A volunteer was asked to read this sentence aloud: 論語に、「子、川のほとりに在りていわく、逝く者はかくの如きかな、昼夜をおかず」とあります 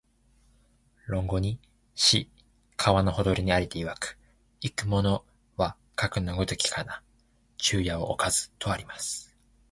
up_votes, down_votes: 3, 2